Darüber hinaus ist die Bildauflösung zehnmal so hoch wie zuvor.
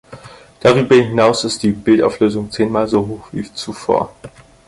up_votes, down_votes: 4, 0